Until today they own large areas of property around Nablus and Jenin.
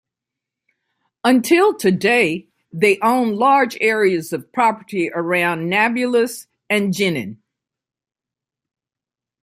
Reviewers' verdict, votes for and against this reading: accepted, 2, 1